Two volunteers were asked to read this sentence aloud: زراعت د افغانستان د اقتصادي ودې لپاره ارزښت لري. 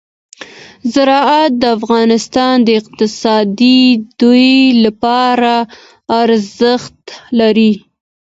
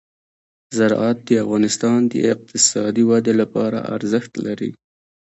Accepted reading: first